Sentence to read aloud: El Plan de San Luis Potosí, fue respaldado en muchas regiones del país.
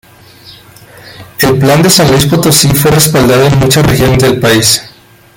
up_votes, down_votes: 0, 2